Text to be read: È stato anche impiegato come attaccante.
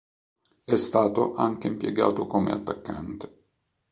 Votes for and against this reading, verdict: 2, 0, accepted